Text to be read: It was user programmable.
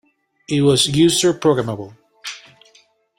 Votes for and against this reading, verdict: 2, 1, accepted